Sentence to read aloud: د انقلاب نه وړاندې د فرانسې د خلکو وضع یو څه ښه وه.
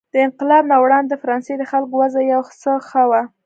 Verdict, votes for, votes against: accepted, 2, 0